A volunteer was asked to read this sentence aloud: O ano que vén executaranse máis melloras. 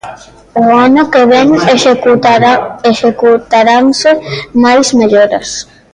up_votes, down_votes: 0, 2